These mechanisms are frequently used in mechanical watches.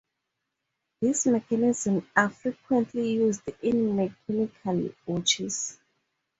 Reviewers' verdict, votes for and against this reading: rejected, 0, 2